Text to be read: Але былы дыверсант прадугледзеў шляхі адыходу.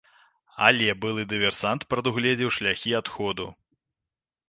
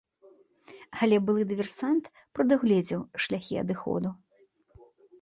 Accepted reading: second